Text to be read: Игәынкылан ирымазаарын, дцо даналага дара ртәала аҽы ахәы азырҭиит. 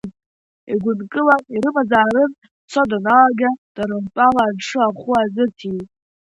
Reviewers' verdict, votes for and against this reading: rejected, 1, 2